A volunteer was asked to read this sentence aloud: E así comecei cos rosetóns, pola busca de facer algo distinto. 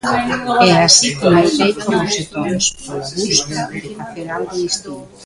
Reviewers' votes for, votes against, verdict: 0, 2, rejected